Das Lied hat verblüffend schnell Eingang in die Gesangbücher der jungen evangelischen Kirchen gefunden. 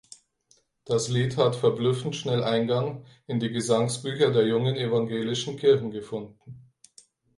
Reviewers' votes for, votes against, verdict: 0, 4, rejected